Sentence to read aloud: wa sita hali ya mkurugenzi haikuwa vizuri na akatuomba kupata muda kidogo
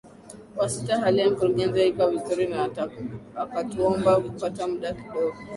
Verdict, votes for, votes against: accepted, 2, 0